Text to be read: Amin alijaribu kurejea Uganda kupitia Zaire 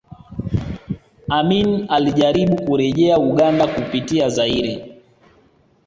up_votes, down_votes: 2, 0